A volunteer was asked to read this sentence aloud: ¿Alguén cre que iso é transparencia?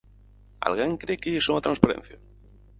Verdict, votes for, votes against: rejected, 0, 4